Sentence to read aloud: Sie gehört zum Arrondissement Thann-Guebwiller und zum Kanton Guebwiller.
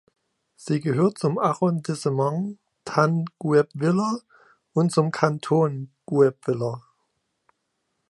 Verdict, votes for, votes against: rejected, 1, 2